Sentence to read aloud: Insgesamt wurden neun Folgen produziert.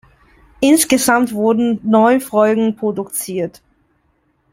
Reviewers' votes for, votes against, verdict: 2, 0, accepted